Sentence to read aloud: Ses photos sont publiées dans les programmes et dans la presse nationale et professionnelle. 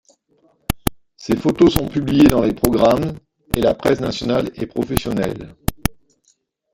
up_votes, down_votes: 1, 2